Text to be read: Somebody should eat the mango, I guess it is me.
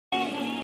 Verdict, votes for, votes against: rejected, 0, 2